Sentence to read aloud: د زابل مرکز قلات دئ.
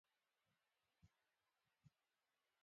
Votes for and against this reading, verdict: 0, 2, rejected